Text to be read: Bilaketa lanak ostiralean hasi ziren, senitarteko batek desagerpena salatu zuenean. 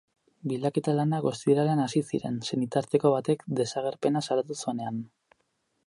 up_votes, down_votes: 4, 0